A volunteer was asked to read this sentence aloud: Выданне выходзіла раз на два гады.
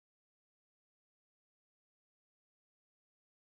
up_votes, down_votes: 0, 3